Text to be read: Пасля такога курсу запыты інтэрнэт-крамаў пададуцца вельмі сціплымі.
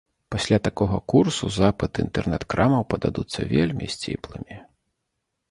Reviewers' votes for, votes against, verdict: 2, 0, accepted